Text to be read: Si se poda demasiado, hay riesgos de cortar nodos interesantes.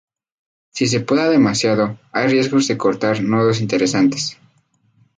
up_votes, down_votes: 4, 0